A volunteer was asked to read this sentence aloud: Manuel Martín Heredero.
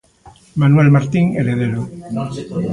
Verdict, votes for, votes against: rejected, 0, 2